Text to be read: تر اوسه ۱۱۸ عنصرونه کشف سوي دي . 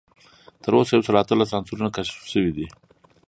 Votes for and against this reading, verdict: 0, 2, rejected